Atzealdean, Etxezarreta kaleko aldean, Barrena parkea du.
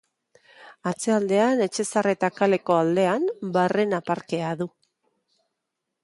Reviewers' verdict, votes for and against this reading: accepted, 2, 0